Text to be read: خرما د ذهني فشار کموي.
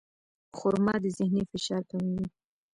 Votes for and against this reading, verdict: 2, 0, accepted